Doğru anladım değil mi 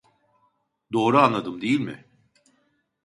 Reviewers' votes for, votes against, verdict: 2, 0, accepted